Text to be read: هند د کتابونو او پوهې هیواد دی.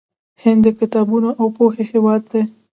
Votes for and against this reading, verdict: 2, 0, accepted